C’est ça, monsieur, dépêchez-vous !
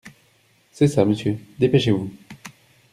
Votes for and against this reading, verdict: 2, 0, accepted